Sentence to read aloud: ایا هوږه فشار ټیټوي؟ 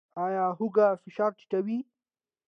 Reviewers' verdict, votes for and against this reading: accepted, 2, 0